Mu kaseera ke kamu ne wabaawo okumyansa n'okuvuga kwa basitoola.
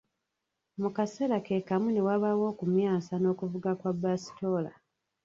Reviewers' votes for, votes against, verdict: 1, 2, rejected